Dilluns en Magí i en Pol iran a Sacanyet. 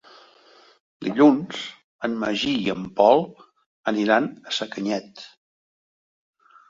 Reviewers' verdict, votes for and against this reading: rejected, 0, 3